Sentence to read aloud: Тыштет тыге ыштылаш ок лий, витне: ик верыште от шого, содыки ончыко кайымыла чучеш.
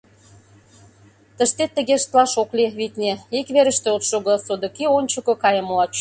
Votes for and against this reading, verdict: 1, 2, rejected